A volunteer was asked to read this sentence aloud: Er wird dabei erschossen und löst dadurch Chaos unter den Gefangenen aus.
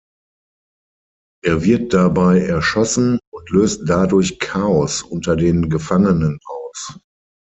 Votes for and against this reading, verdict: 6, 0, accepted